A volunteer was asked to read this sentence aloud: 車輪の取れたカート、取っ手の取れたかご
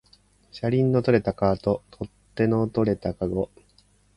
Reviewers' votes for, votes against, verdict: 12, 3, accepted